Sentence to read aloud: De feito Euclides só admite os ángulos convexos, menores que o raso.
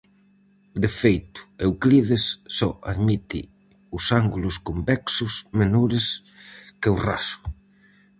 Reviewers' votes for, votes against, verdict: 4, 0, accepted